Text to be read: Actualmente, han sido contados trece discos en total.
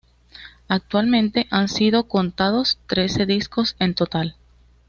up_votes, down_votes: 2, 0